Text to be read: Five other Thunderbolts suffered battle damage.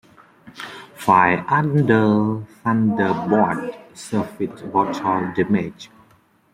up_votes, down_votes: 0, 2